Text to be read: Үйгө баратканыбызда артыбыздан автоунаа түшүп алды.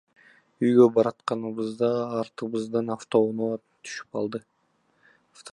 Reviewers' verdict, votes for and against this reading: accepted, 2, 1